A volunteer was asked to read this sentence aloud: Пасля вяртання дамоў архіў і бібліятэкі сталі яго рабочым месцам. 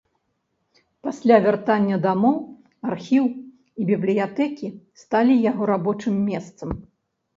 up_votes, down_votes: 2, 0